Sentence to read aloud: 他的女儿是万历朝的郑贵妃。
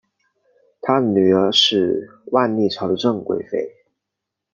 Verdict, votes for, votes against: rejected, 1, 2